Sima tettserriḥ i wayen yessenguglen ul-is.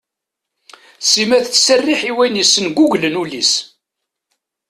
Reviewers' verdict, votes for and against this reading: accepted, 2, 0